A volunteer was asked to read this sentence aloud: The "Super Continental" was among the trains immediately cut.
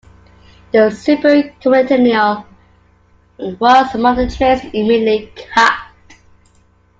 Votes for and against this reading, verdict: 0, 2, rejected